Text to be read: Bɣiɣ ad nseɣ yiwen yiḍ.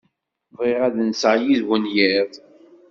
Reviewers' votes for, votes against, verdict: 1, 2, rejected